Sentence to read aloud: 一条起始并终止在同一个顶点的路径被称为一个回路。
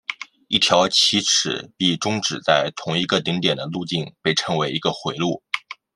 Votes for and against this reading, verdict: 1, 2, rejected